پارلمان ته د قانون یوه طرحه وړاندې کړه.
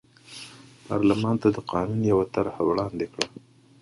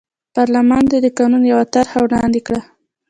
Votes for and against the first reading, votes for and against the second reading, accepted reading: 2, 0, 1, 2, first